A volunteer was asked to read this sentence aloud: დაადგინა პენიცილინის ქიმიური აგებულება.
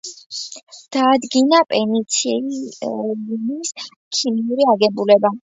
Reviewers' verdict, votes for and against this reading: rejected, 0, 2